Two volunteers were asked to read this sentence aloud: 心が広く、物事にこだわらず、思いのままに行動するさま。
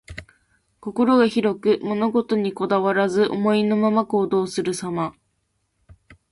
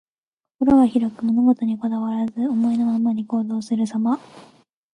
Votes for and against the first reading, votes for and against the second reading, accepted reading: 1, 2, 2, 0, second